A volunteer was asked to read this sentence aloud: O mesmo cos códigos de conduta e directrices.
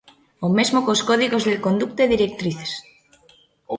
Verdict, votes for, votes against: rejected, 0, 2